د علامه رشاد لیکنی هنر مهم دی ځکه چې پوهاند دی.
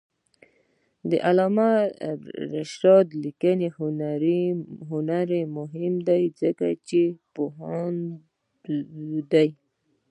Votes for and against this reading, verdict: 0, 2, rejected